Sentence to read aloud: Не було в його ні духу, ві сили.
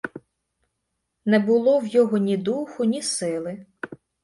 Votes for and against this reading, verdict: 0, 2, rejected